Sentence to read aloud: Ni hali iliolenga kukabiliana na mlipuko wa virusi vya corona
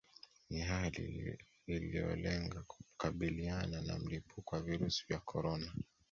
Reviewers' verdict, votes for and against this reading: accepted, 2, 0